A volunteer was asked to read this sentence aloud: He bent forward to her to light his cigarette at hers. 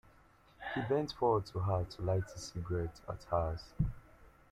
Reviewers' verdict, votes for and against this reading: accepted, 2, 1